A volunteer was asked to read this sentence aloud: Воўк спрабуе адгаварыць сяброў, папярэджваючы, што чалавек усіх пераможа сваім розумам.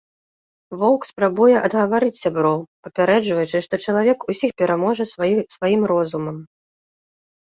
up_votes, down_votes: 1, 2